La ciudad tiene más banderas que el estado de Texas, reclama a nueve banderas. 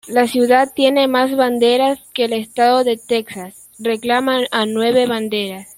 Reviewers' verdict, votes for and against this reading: rejected, 1, 2